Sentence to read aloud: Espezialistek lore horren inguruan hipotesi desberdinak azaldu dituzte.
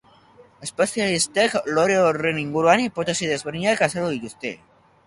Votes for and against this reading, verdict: 2, 0, accepted